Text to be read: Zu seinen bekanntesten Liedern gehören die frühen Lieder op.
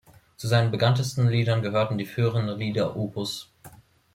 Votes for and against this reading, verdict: 0, 2, rejected